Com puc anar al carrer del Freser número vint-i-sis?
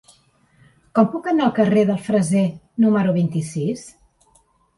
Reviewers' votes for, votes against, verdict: 0, 2, rejected